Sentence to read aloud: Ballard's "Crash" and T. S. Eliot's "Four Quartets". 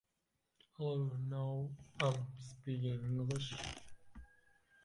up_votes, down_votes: 0, 2